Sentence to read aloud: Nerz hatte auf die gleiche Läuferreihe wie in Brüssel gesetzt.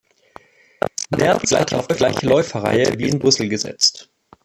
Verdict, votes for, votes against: rejected, 0, 2